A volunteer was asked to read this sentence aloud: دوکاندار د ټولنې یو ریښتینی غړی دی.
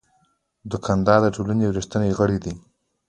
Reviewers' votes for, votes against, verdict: 2, 1, accepted